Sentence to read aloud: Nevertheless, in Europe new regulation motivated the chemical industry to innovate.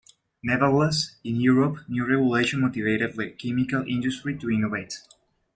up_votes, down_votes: 1, 2